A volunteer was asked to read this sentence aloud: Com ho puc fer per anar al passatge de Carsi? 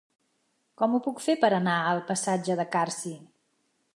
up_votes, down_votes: 2, 0